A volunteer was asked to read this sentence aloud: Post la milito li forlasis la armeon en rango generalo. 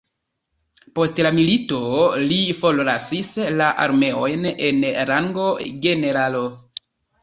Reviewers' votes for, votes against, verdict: 1, 2, rejected